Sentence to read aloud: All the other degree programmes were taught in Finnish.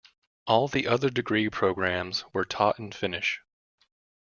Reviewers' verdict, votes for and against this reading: accepted, 2, 0